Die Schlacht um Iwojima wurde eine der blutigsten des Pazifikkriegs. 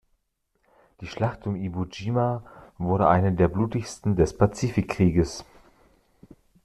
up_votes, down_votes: 2, 0